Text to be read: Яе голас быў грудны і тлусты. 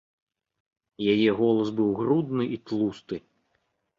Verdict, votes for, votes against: rejected, 1, 2